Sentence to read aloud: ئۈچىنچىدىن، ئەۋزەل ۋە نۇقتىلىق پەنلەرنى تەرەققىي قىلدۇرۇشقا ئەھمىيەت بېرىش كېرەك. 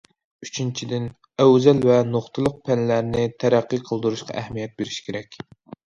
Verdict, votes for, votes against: accepted, 2, 0